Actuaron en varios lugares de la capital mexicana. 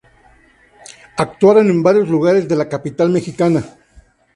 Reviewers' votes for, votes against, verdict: 2, 0, accepted